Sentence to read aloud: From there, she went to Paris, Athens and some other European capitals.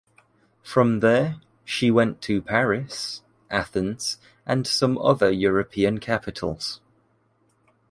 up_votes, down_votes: 2, 0